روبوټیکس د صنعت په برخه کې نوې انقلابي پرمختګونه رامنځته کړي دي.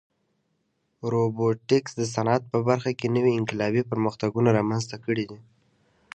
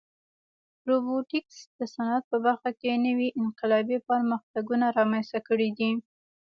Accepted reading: first